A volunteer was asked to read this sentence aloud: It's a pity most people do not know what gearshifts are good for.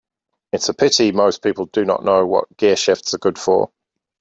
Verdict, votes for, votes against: accepted, 2, 0